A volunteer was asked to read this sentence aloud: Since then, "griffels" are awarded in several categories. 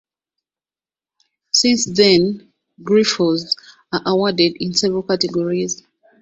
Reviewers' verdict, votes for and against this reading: accepted, 2, 0